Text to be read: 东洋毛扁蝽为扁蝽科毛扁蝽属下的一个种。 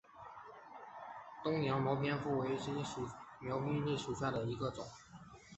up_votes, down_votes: 0, 2